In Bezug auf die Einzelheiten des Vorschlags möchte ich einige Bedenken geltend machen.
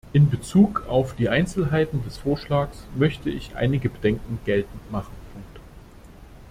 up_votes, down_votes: 2, 0